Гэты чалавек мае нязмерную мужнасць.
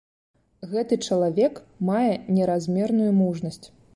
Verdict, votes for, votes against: rejected, 0, 2